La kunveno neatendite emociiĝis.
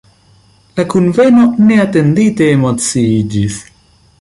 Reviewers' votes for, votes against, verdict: 1, 2, rejected